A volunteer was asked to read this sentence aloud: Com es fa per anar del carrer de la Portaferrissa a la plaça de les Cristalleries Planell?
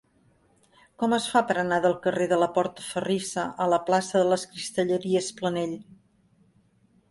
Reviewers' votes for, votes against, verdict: 4, 0, accepted